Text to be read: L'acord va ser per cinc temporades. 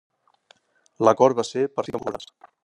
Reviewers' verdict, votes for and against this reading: rejected, 0, 2